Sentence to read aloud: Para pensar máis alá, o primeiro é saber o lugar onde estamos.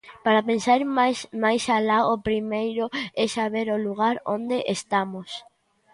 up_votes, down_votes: 0, 2